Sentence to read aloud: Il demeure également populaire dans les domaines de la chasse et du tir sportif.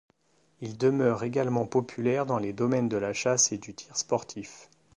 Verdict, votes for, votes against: accepted, 2, 0